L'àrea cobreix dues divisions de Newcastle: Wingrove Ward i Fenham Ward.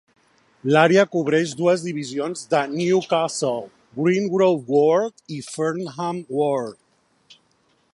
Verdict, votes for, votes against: accepted, 2, 1